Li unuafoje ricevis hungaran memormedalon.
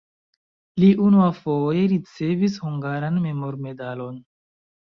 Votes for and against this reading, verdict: 2, 0, accepted